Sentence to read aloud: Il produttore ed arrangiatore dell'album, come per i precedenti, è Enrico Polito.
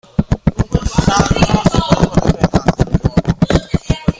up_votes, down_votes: 0, 2